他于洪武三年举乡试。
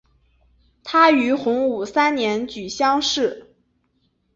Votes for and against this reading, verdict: 3, 0, accepted